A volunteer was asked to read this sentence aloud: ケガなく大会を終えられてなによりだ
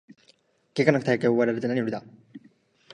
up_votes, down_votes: 1, 2